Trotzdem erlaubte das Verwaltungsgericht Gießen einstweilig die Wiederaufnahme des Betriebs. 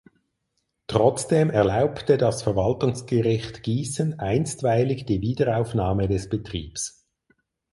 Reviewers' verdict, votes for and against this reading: accepted, 4, 0